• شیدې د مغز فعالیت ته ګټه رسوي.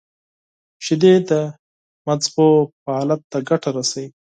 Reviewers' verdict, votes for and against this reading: accepted, 4, 2